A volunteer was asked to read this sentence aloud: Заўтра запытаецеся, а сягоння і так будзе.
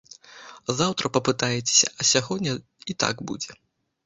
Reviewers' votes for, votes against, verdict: 0, 2, rejected